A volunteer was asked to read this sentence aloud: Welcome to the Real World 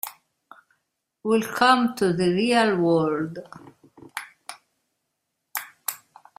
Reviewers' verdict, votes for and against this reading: rejected, 0, 2